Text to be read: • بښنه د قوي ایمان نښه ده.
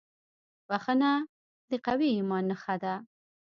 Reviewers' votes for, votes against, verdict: 0, 2, rejected